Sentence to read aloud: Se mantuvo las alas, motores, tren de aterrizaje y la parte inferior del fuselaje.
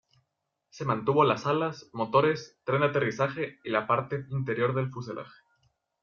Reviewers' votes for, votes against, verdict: 0, 2, rejected